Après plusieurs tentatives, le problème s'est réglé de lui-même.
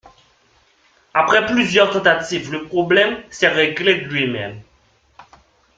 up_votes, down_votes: 2, 1